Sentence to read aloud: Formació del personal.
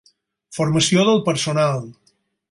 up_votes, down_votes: 6, 0